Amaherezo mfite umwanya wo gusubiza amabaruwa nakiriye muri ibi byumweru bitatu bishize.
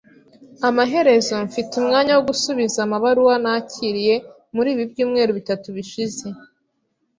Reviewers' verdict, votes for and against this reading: accepted, 2, 0